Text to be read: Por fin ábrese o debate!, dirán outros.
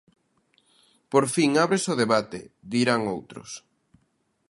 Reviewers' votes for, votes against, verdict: 3, 0, accepted